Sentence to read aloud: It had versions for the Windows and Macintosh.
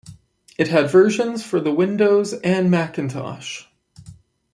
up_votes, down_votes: 2, 0